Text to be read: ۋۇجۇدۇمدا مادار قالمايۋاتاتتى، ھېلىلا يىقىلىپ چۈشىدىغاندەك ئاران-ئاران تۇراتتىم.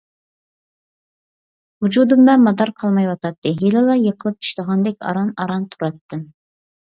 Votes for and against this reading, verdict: 2, 0, accepted